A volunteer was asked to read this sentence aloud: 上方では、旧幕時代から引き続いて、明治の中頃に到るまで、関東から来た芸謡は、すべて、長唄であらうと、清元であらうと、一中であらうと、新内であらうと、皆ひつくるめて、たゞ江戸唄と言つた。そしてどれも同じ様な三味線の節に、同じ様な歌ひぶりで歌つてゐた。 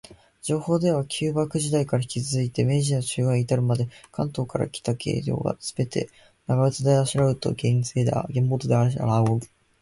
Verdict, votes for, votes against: rejected, 0, 2